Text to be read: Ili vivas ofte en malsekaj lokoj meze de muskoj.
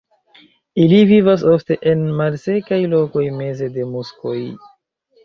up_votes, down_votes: 2, 0